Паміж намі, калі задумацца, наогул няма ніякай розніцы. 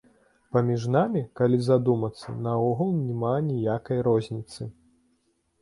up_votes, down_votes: 2, 0